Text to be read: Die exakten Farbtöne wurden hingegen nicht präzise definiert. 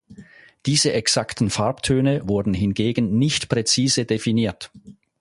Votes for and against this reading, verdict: 0, 4, rejected